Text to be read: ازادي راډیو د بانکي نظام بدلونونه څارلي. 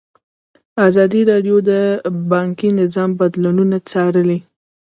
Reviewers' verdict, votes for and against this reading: rejected, 1, 2